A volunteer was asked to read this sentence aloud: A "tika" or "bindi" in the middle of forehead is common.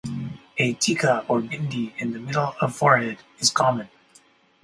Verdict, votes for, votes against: accepted, 4, 0